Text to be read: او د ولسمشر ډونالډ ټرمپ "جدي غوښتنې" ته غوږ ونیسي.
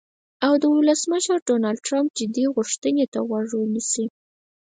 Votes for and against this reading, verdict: 4, 0, accepted